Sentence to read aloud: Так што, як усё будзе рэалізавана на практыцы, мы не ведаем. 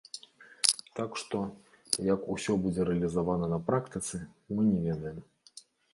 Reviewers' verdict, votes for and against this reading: accepted, 2, 0